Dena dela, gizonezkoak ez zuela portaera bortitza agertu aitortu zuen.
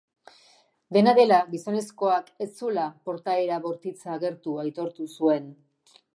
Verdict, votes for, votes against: accepted, 6, 2